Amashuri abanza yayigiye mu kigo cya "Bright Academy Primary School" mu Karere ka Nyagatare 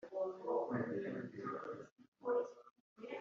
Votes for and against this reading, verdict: 1, 2, rejected